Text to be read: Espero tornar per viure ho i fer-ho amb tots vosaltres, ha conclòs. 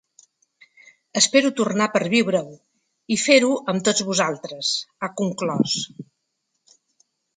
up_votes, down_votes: 2, 0